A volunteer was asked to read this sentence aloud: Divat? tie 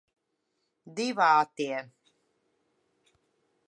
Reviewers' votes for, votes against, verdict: 0, 2, rejected